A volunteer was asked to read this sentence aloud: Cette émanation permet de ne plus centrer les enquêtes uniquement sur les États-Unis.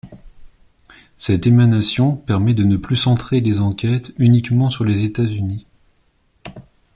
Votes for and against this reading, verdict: 2, 0, accepted